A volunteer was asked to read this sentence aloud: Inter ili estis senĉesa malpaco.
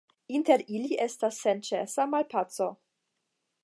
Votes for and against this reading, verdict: 5, 5, rejected